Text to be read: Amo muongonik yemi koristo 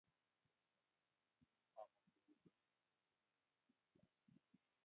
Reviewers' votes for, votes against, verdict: 1, 3, rejected